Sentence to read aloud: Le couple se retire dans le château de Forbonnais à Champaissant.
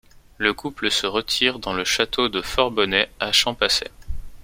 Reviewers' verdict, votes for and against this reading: accepted, 2, 0